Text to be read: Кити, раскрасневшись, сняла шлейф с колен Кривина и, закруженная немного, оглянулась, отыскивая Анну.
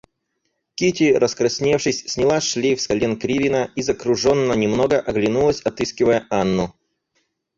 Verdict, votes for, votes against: rejected, 0, 4